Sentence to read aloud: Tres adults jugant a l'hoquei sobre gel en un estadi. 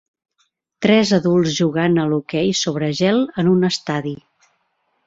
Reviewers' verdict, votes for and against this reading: accepted, 3, 0